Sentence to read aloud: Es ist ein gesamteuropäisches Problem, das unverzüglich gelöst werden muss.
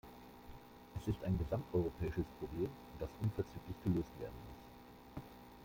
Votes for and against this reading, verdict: 1, 2, rejected